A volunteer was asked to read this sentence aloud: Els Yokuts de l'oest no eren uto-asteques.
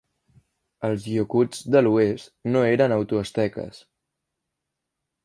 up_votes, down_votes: 1, 2